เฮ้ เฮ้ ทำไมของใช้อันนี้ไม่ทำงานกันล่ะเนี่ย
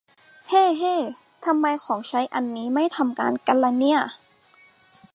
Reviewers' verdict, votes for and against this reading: accepted, 2, 0